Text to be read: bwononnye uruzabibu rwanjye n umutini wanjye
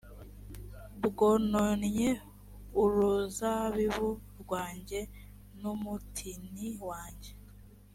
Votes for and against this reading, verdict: 2, 0, accepted